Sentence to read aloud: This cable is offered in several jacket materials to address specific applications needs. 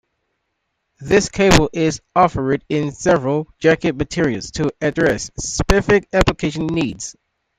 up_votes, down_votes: 2, 1